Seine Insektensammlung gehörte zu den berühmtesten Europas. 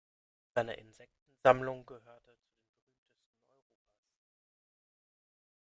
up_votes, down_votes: 0, 2